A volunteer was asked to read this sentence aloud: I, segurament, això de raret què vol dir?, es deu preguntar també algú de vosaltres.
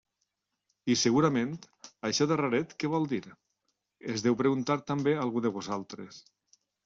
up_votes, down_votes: 0, 2